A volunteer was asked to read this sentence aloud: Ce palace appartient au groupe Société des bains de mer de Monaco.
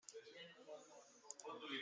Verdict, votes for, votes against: rejected, 0, 2